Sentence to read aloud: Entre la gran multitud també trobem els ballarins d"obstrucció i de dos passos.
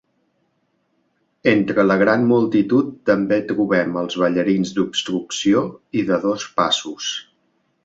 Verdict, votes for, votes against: accepted, 2, 0